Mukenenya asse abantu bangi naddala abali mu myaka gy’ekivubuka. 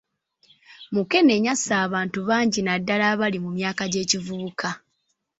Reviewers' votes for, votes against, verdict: 2, 0, accepted